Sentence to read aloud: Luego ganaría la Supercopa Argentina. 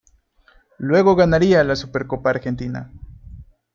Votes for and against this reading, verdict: 2, 0, accepted